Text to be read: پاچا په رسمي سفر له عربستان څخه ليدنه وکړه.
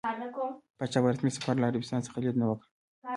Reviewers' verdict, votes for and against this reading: accepted, 2, 0